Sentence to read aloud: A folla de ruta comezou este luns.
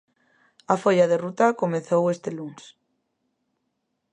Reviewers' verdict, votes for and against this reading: accepted, 2, 0